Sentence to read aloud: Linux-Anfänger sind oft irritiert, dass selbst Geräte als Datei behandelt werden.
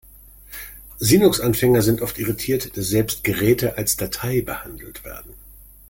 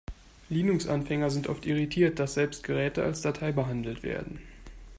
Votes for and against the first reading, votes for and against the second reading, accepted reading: 0, 2, 2, 0, second